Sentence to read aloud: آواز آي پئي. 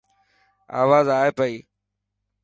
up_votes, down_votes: 2, 0